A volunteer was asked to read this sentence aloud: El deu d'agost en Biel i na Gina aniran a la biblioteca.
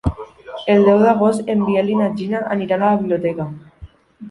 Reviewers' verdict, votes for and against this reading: accepted, 3, 0